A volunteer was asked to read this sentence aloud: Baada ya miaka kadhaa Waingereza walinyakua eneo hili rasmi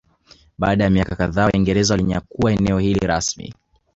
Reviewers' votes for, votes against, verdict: 0, 2, rejected